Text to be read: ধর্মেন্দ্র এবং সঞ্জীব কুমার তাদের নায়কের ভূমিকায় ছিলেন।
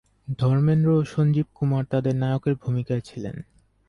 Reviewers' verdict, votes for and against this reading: rejected, 0, 4